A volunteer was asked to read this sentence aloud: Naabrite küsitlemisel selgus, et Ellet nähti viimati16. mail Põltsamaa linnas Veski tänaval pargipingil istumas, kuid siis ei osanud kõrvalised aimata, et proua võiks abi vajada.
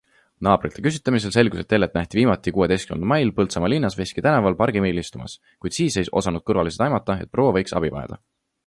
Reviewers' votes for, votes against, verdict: 0, 2, rejected